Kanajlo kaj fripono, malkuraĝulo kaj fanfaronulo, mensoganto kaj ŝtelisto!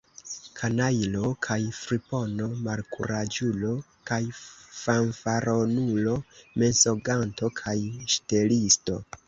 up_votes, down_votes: 1, 2